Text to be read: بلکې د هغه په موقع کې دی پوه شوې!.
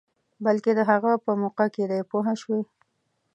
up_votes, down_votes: 2, 0